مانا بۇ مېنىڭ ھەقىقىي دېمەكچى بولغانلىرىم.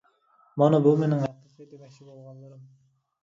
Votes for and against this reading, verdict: 1, 2, rejected